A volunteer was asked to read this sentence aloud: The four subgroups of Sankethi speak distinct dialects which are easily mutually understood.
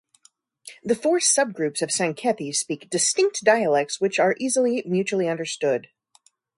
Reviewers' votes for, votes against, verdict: 2, 0, accepted